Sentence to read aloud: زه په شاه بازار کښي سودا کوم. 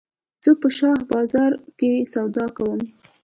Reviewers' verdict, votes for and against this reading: rejected, 1, 2